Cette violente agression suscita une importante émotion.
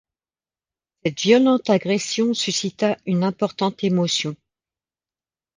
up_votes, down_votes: 0, 2